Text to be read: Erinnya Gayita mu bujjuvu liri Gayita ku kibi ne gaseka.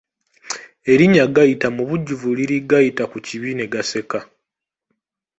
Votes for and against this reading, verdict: 2, 0, accepted